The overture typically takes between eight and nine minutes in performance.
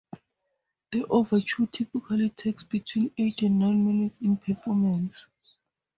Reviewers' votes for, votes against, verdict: 4, 0, accepted